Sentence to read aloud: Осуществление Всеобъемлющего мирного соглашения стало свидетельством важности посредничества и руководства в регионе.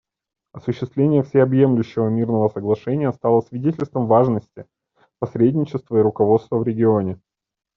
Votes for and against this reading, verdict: 2, 1, accepted